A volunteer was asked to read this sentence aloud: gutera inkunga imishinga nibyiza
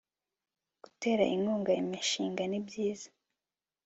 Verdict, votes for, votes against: accepted, 3, 0